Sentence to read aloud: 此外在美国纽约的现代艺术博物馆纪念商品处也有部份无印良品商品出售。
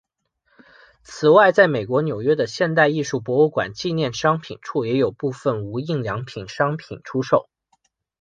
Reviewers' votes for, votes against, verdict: 8, 0, accepted